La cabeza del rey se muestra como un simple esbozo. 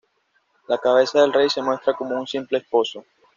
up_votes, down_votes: 1, 2